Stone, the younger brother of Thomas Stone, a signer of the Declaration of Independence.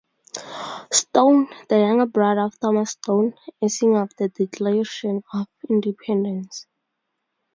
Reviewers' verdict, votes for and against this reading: rejected, 0, 2